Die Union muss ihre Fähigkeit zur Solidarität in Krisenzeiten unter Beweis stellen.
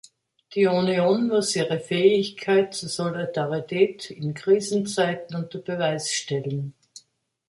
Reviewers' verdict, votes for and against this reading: accepted, 2, 1